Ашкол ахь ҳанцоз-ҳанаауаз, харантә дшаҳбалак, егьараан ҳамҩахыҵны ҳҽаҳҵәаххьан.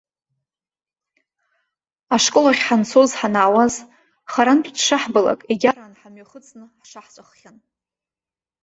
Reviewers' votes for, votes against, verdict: 0, 2, rejected